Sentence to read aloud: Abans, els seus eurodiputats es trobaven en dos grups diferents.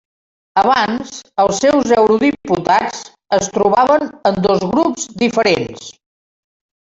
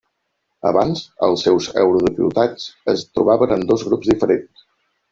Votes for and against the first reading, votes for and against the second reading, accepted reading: 0, 2, 3, 2, second